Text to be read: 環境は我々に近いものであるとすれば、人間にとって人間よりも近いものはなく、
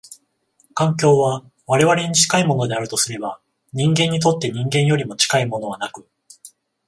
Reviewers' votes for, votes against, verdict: 14, 0, accepted